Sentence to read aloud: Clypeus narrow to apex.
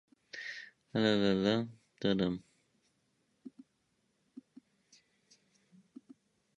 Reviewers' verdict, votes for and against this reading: rejected, 0, 2